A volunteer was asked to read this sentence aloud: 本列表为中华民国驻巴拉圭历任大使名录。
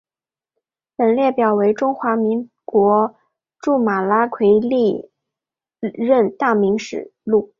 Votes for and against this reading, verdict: 2, 1, accepted